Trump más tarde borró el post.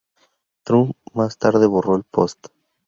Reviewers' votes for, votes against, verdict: 2, 0, accepted